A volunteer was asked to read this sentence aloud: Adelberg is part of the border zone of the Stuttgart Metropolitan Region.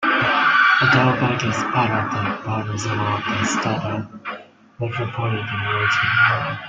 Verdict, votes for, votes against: rejected, 1, 2